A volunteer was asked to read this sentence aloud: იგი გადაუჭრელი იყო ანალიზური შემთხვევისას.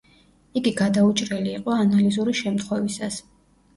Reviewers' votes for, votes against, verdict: 2, 0, accepted